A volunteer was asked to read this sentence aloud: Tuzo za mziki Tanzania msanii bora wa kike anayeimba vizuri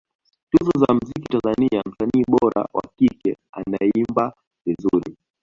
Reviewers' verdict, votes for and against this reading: rejected, 0, 2